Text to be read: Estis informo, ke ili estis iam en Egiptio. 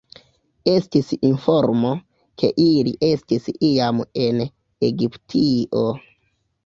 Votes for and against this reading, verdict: 2, 1, accepted